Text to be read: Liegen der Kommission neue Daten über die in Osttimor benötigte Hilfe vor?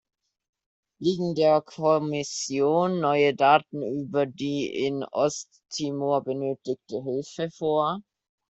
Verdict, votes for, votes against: accepted, 2, 0